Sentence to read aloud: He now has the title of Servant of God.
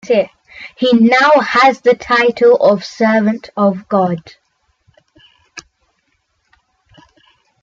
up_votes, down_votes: 2, 1